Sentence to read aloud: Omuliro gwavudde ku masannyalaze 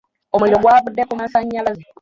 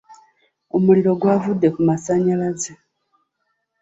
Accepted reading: second